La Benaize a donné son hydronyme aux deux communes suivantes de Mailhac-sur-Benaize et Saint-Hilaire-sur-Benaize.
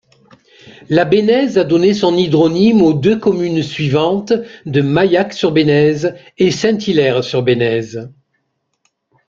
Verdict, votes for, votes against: accepted, 2, 0